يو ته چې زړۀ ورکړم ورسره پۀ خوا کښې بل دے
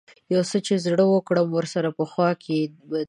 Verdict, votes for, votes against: rejected, 0, 2